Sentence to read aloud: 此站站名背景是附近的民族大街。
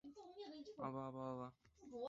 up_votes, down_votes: 0, 4